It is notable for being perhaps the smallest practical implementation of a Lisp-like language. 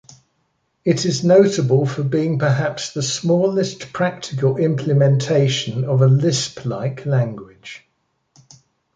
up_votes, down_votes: 2, 0